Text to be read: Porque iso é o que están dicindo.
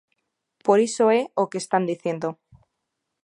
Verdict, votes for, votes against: rejected, 0, 2